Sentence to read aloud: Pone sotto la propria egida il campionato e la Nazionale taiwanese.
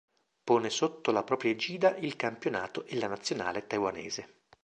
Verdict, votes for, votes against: rejected, 1, 2